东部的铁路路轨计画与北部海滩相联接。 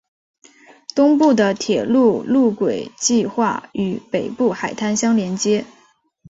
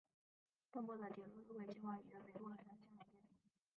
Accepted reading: first